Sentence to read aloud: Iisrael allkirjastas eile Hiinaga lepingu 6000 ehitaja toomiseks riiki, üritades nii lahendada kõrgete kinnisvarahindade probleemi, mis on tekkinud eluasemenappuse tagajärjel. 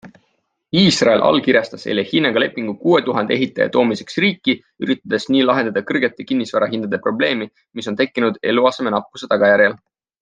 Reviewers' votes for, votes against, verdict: 0, 2, rejected